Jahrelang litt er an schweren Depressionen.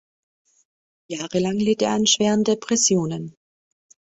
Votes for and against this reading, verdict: 2, 0, accepted